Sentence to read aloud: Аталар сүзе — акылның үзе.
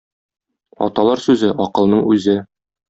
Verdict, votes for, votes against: accepted, 2, 0